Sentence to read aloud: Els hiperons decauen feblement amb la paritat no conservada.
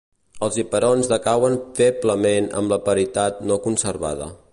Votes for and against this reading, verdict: 2, 0, accepted